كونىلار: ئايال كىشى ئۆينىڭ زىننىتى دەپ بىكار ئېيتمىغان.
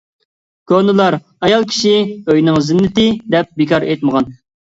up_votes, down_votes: 2, 0